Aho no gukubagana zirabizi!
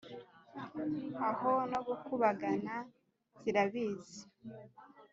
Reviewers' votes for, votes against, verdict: 2, 0, accepted